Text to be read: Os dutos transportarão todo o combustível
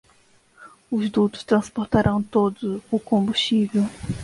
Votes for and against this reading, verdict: 0, 2, rejected